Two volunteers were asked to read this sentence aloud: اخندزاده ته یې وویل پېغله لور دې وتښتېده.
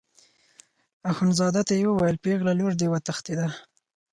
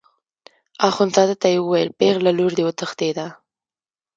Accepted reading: first